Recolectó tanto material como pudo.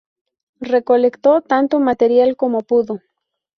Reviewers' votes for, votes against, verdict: 0, 2, rejected